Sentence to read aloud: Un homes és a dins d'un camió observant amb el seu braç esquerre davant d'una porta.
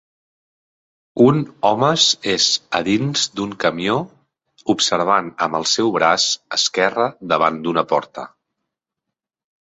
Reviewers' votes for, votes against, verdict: 2, 0, accepted